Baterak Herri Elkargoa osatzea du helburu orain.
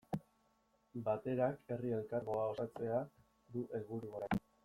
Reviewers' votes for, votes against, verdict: 1, 2, rejected